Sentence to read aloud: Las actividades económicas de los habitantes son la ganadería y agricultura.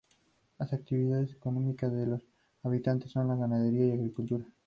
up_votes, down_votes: 2, 0